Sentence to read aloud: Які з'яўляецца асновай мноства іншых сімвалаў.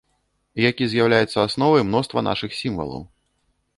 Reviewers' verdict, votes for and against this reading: rejected, 0, 2